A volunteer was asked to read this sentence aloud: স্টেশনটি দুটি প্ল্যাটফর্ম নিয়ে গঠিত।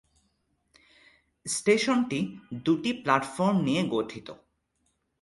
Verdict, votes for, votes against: accepted, 2, 0